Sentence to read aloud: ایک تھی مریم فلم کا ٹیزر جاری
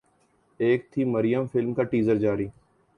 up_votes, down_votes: 4, 0